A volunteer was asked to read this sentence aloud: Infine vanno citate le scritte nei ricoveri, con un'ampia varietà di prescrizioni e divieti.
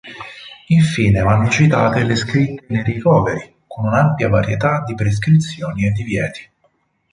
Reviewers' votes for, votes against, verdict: 0, 2, rejected